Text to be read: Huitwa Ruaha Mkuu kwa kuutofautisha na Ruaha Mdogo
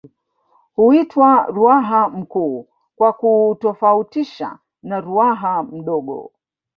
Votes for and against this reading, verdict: 1, 2, rejected